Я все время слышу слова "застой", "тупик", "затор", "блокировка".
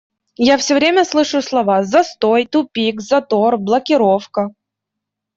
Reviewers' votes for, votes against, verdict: 2, 0, accepted